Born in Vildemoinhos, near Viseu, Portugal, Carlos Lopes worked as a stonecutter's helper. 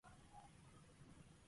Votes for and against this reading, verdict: 0, 2, rejected